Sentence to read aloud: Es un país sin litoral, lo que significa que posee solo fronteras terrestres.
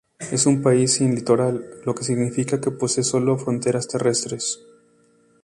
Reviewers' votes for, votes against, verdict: 4, 0, accepted